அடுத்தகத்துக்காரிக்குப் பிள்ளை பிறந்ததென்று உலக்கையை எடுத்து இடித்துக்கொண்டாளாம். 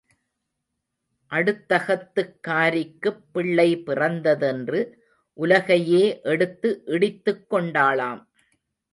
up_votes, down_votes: 0, 2